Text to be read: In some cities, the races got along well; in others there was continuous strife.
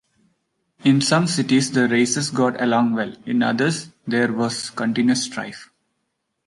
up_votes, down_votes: 0, 2